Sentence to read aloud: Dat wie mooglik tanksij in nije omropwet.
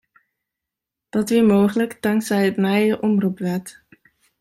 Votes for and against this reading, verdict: 1, 2, rejected